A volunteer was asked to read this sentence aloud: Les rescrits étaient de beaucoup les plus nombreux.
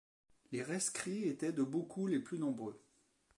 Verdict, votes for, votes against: rejected, 1, 2